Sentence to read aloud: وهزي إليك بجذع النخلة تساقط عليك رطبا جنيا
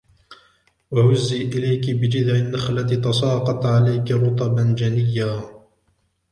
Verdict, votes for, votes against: rejected, 1, 2